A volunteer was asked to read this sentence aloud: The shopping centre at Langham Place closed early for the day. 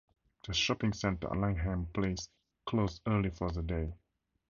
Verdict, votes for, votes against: accepted, 4, 0